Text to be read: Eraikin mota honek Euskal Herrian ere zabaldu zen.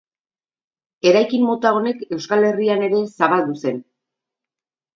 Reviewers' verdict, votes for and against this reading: accepted, 4, 0